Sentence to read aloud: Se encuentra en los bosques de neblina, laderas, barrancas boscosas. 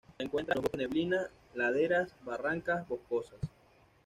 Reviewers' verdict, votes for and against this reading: rejected, 1, 2